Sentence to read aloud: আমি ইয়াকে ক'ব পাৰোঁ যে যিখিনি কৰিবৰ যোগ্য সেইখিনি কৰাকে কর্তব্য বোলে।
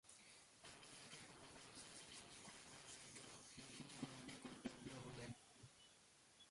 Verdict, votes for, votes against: rejected, 0, 2